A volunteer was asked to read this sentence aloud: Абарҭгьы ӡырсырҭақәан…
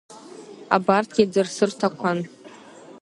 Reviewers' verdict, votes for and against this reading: accepted, 2, 0